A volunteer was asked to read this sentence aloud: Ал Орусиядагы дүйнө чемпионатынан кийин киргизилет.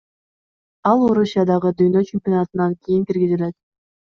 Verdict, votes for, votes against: accepted, 2, 0